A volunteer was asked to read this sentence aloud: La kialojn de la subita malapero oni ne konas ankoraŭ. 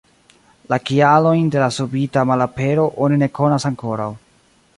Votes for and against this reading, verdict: 1, 2, rejected